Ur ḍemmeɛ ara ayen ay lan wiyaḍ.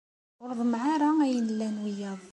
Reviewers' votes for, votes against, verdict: 2, 0, accepted